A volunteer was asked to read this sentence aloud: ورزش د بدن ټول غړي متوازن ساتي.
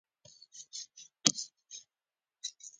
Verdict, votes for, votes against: rejected, 0, 2